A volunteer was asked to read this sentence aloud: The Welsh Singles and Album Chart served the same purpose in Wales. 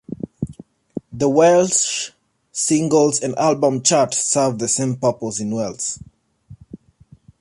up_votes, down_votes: 2, 0